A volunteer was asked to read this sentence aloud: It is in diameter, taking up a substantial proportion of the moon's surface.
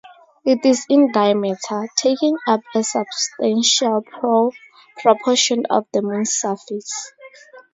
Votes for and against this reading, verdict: 0, 2, rejected